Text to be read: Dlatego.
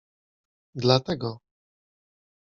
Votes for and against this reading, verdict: 2, 0, accepted